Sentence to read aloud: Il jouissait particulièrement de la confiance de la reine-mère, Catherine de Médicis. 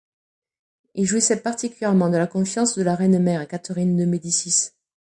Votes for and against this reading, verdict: 2, 0, accepted